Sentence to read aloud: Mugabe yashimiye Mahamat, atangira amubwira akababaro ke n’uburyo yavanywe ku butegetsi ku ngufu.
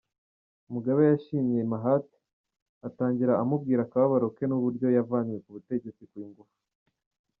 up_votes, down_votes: 2, 1